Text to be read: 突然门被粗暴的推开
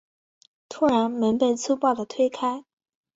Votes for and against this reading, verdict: 4, 0, accepted